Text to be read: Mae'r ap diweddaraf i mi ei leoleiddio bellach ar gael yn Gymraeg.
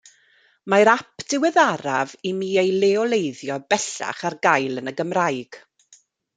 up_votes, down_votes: 1, 2